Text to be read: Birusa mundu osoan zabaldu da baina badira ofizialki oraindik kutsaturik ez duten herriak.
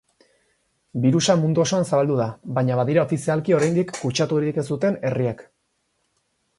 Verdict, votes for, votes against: accepted, 4, 0